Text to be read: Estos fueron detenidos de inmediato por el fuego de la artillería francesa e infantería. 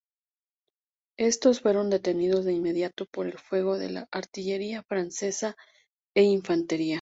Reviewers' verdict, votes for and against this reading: accepted, 2, 0